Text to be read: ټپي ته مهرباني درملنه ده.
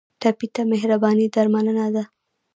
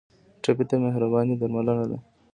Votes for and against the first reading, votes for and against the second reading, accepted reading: 1, 2, 2, 0, second